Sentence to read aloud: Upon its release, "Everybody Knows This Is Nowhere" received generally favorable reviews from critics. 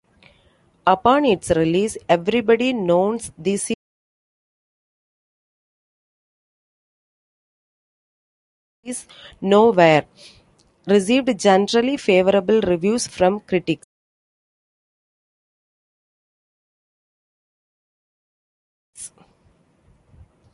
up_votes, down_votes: 0, 2